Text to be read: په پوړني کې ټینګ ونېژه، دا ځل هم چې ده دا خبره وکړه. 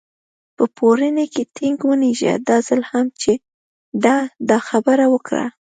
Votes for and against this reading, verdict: 2, 0, accepted